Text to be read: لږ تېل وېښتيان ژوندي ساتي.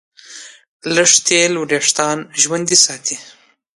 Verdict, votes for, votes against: accepted, 2, 0